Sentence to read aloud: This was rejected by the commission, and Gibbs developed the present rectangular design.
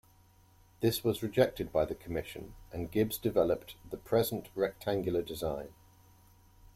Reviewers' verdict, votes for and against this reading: accepted, 2, 0